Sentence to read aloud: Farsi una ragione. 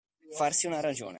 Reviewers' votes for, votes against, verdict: 2, 0, accepted